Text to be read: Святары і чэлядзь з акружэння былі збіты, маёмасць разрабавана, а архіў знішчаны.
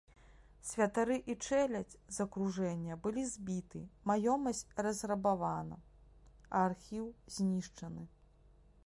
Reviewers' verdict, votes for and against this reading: accepted, 2, 0